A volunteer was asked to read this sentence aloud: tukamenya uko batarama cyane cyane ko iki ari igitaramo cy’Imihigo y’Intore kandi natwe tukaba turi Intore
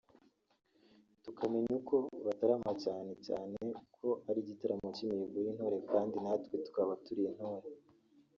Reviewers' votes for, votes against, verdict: 0, 2, rejected